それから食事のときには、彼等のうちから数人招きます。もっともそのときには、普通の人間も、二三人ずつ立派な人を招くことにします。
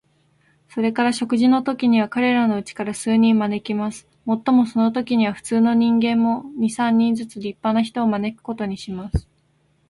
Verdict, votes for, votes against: accepted, 4, 0